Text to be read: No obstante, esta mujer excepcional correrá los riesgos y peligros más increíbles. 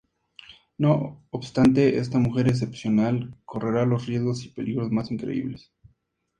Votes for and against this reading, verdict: 2, 0, accepted